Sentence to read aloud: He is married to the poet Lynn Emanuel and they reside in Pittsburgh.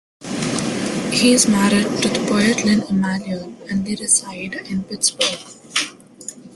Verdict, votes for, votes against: accepted, 2, 0